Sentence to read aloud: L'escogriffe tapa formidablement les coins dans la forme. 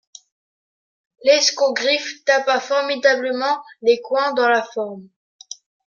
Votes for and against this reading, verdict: 2, 0, accepted